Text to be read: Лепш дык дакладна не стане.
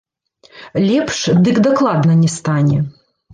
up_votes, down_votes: 1, 2